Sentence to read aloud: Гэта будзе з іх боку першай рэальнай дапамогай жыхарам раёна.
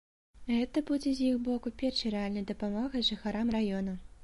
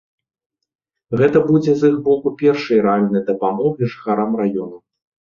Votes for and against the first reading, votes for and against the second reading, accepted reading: 2, 0, 1, 2, first